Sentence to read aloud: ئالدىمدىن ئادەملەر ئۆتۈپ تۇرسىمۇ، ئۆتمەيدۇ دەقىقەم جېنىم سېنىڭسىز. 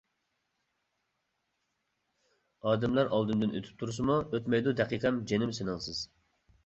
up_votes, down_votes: 0, 2